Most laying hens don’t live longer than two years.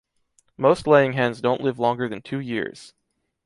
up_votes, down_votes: 3, 1